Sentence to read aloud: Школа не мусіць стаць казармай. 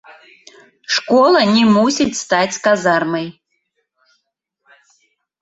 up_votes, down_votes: 2, 0